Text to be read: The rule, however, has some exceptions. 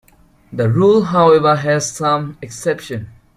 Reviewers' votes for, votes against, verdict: 2, 1, accepted